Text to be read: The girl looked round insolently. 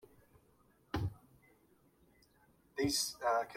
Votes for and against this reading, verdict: 0, 2, rejected